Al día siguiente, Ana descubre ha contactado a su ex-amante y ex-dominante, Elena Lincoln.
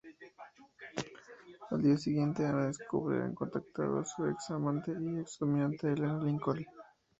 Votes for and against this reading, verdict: 2, 0, accepted